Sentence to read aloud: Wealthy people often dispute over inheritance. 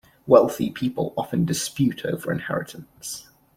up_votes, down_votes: 2, 0